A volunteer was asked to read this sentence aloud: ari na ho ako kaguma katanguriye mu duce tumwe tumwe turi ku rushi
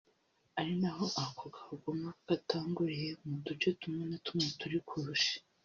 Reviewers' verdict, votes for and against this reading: rejected, 1, 2